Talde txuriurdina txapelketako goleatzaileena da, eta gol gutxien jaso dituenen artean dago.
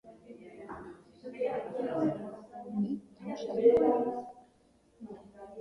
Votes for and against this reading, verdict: 0, 3, rejected